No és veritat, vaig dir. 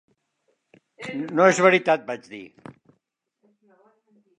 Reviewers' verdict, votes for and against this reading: accepted, 4, 0